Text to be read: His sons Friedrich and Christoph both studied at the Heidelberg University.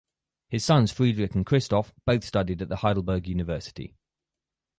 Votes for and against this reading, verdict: 2, 2, rejected